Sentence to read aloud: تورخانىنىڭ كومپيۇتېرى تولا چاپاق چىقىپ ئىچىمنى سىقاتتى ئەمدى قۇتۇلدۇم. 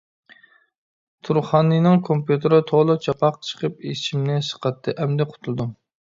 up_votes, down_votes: 0, 2